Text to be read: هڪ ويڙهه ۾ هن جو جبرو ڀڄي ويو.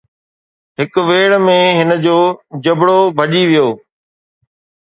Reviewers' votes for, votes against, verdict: 2, 0, accepted